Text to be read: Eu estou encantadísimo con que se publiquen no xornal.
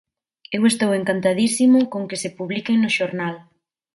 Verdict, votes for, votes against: accepted, 2, 0